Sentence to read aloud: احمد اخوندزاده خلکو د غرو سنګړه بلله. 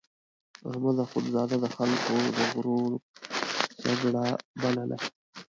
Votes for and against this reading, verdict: 0, 3, rejected